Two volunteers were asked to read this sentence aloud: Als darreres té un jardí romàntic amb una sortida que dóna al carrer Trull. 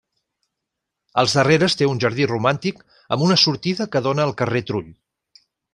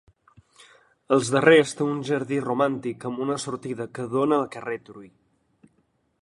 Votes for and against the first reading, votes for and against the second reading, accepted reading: 3, 0, 1, 2, first